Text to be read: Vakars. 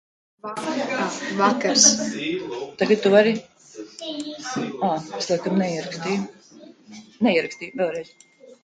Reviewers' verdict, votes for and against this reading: rejected, 0, 2